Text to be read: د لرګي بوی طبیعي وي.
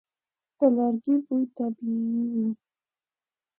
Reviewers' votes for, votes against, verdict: 2, 0, accepted